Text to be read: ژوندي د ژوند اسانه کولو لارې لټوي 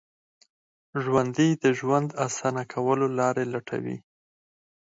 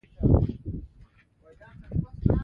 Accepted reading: second